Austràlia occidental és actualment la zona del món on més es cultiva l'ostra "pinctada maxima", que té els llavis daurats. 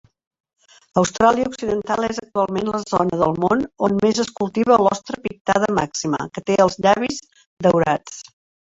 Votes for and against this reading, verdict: 2, 3, rejected